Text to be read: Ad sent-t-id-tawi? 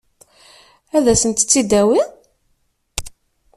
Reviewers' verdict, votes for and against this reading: rejected, 1, 2